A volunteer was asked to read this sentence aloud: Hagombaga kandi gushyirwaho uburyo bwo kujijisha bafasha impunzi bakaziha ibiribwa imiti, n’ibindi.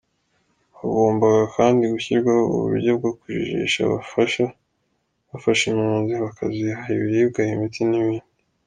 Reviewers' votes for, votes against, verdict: 1, 2, rejected